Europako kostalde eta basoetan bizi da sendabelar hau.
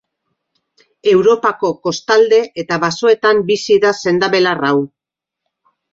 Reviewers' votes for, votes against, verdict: 2, 0, accepted